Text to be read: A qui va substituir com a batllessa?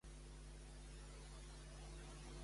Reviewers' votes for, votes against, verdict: 0, 2, rejected